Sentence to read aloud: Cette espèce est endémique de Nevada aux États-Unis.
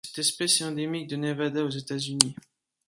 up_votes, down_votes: 2, 0